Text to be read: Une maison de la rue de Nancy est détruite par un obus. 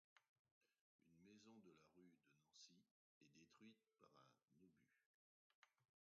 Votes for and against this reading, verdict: 1, 2, rejected